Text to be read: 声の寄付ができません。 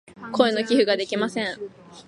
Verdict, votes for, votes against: rejected, 0, 2